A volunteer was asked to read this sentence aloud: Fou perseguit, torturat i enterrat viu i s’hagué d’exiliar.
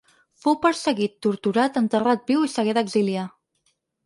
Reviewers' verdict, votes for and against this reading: rejected, 0, 4